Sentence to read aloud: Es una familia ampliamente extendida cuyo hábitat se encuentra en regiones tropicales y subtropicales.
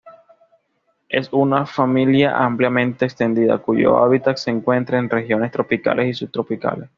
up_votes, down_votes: 2, 0